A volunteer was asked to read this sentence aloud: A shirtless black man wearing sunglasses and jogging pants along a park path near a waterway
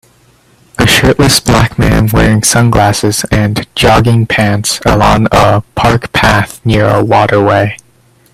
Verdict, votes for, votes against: rejected, 1, 2